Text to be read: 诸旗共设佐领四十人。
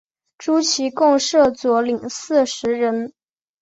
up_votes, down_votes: 3, 0